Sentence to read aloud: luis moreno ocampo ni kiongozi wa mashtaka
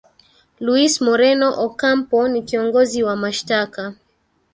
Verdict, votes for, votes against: accepted, 3, 0